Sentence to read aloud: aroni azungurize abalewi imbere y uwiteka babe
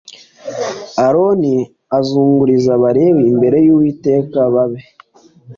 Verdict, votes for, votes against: accepted, 2, 0